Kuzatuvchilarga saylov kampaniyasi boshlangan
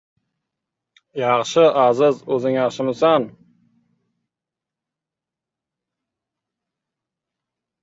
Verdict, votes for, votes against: rejected, 0, 2